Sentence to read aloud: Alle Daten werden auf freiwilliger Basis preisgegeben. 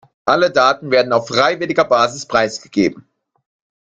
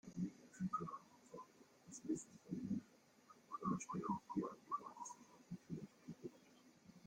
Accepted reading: first